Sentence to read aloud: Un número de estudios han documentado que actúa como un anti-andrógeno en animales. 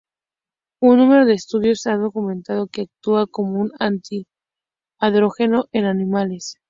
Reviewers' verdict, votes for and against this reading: accepted, 2, 0